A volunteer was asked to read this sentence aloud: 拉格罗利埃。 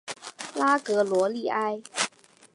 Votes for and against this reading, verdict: 2, 0, accepted